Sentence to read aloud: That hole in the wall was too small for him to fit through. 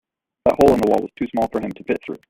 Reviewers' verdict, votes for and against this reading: rejected, 0, 2